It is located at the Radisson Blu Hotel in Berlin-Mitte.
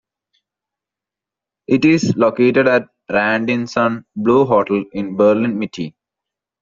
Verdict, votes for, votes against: rejected, 0, 2